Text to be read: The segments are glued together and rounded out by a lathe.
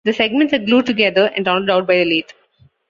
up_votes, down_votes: 0, 2